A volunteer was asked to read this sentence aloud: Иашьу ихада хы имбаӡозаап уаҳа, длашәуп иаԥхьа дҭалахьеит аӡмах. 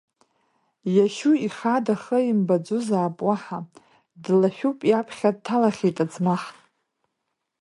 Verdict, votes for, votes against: rejected, 0, 2